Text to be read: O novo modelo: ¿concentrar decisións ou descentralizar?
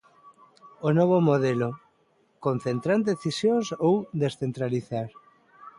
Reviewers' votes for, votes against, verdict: 0, 2, rejected